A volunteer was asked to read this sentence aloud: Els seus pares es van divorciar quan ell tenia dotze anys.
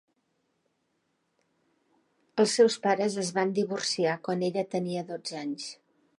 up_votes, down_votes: 0, 2